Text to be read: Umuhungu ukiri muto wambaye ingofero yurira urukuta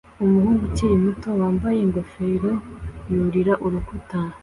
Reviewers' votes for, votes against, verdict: 2, 0, accepted